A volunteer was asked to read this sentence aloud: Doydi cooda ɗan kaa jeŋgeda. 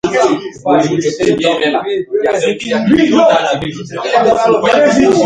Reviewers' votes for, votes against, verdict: 0, 2, rejected